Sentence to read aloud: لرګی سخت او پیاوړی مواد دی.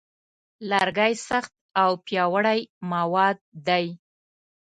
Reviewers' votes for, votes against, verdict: 2, 0, accepted